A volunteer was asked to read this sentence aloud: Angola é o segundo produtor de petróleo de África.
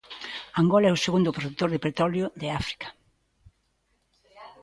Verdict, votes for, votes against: rejected, 1, 2